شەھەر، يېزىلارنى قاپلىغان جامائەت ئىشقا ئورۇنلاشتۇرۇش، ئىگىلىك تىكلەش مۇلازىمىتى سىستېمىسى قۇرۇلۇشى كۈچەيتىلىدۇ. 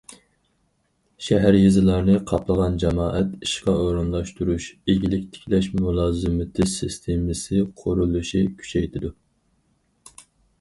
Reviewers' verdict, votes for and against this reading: rejected, 0, 4